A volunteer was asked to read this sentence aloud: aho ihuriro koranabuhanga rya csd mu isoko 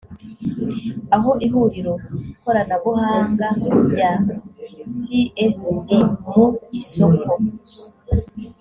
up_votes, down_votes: 0, 2